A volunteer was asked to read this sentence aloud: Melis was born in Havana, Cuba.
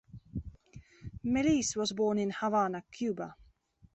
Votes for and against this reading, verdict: 2, 0, accepted